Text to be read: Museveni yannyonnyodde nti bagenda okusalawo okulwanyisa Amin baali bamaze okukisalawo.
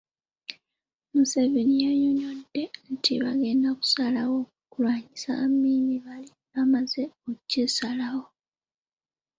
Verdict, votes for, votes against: rejected, 0, 2